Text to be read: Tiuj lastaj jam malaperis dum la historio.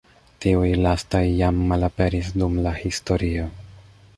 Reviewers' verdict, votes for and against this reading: rejected, 1, 2